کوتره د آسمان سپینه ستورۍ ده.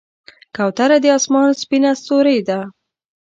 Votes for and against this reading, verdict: 2, 0, accepted